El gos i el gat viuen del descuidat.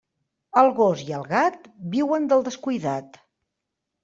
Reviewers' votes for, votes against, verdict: 3, 0, accepted